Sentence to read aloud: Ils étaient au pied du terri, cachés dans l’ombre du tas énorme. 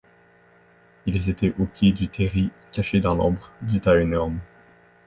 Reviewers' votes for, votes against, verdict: 2, 0, accepted